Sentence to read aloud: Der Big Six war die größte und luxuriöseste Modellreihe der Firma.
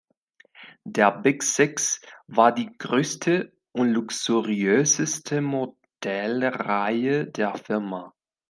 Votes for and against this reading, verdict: 0, 2, rejected